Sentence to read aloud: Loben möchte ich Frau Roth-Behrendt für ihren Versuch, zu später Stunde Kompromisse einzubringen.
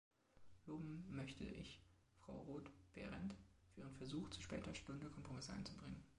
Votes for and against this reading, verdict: 2, 1, accepted